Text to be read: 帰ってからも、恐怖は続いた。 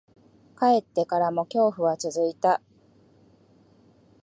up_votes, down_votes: 12, 0